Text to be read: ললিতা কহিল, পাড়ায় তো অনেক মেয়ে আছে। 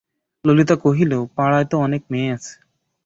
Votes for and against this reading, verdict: 5, 5, rejected